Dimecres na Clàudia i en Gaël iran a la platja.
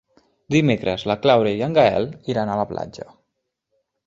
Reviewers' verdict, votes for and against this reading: rejected, 2, 3